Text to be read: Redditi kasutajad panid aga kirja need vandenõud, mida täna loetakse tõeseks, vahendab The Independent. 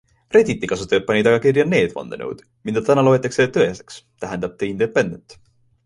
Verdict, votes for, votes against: rejected, 0, 2